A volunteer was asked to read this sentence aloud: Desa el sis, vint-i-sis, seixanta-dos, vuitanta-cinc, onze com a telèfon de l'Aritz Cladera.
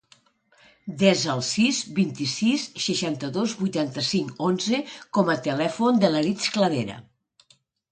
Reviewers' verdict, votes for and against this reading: accepted, 2, 0